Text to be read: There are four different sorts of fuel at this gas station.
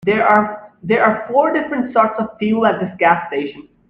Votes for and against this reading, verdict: 0, 2, rejected